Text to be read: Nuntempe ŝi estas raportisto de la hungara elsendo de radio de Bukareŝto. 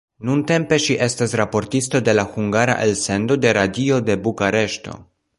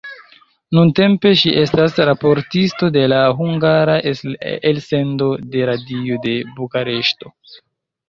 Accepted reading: first